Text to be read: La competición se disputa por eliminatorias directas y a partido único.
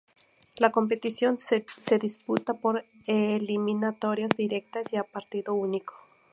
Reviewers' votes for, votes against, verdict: 0, 2, rejected